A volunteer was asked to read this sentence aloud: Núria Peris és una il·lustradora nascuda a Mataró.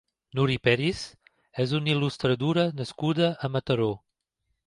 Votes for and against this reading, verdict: 1, 2, rejected